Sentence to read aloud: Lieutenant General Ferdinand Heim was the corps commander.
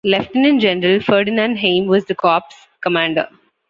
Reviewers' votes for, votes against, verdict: 2, 0, accepted